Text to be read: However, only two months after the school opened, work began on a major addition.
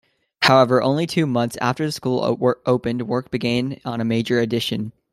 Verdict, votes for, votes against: rejected, 1, 2